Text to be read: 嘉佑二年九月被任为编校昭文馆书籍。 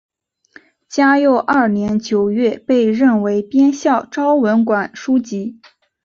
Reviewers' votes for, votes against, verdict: 3, 1, accepted